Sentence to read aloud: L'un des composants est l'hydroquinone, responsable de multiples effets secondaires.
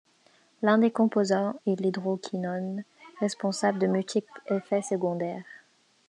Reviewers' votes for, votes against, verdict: 2, 0, accepted